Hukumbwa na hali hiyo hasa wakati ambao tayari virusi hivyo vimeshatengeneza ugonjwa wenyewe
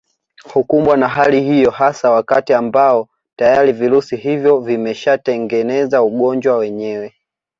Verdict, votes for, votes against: rejected, 1, 2